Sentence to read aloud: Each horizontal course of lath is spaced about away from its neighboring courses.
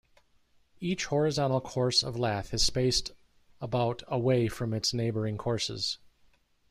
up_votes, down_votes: 0, 2